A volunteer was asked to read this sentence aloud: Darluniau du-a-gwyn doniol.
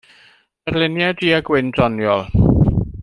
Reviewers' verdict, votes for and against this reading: rejected, 1, 2